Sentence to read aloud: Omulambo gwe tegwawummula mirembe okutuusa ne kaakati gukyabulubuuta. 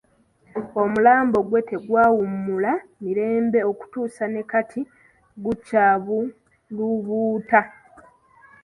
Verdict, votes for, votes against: rejected, 0, 2